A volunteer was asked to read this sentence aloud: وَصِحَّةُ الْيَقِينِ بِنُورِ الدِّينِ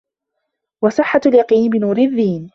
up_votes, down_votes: 0, 2